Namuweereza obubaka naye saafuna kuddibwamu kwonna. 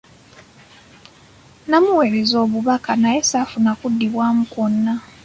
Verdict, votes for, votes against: accepted, 2, 0